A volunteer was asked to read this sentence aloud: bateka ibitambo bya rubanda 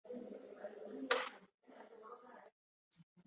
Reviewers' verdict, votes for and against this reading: rejected, 0, 2